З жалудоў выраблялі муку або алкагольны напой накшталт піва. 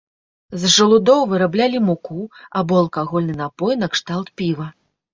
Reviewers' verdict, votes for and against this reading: accepted, 2, 0